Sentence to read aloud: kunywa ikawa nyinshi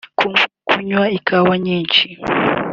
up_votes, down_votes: 2, 1